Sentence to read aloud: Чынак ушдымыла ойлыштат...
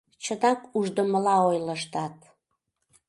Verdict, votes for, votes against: rejected, 1, 2